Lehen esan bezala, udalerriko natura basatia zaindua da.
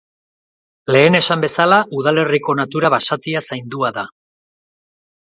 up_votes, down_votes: 2, 0